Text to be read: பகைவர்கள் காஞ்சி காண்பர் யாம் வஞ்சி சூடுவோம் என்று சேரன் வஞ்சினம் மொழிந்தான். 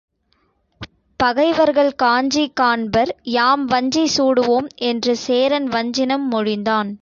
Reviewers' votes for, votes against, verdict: 2, 0, accepted